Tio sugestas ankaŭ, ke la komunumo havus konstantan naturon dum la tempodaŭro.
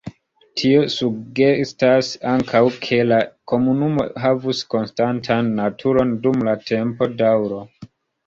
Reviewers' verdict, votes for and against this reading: accepted, 2, 0